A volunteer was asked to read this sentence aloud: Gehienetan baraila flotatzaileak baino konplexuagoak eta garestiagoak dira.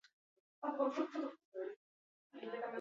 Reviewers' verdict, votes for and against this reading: accepted, 2, 0